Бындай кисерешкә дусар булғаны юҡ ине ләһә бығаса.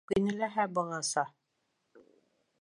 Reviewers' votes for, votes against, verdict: 0, 2, rejected